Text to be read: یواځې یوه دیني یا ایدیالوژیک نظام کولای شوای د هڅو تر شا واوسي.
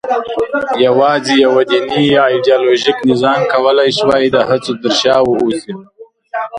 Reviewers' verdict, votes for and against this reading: rejected, 0, 2